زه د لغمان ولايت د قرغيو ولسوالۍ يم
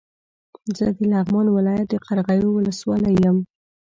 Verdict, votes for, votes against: rejected, 1, 2